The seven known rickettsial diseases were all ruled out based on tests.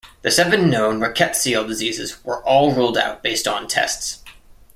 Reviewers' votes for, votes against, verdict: 2, 0, accepted